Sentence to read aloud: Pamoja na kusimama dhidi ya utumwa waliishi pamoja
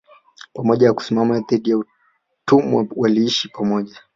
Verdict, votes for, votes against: rejected, 0, 3